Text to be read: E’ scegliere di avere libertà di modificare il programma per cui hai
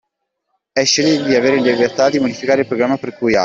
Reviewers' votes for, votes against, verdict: 1, 2, rejected